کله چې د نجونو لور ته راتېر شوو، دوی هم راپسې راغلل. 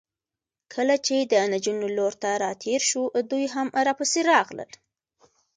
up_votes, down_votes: 2, 1